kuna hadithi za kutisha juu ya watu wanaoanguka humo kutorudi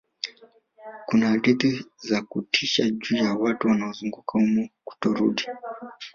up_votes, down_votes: 3, 1